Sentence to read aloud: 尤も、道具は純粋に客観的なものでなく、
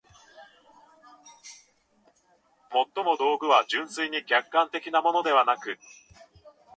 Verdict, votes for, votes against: rejected, 2, 2